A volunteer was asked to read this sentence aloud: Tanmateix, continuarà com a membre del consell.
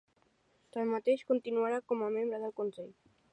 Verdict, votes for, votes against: accepted, 3, 0